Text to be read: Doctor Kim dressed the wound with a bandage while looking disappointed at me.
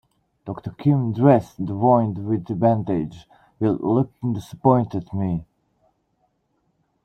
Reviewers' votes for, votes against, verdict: 1, 2, rejected